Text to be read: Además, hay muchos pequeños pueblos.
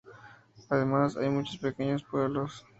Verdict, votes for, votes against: accepted, 2, 0